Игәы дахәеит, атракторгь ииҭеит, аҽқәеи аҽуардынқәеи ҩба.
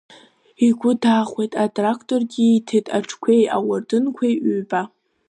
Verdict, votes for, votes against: rejected, 1, 2